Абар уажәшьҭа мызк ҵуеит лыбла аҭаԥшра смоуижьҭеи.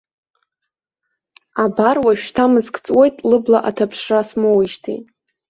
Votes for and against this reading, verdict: 2, 0, accepted